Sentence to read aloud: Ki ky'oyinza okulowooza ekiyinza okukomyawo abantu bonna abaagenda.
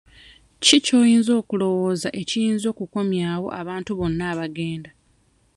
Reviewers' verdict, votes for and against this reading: rejected, 1, 2